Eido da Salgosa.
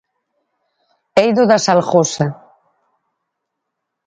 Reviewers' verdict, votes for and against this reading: accepted, 4, 0